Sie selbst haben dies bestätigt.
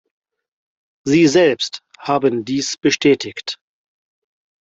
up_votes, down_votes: 4, 0